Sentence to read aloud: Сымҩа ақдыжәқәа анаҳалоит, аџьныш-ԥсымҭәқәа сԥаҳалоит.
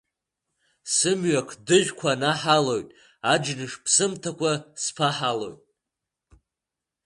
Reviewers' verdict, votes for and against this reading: rejected, 1, 2